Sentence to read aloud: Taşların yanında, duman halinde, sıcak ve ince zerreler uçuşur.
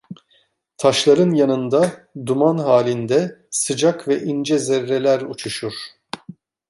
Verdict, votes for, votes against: accepted, 2, 0